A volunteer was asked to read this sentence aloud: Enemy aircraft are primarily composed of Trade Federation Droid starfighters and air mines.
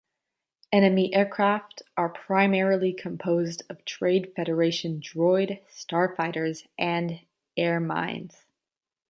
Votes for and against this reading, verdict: 2, 0, accepted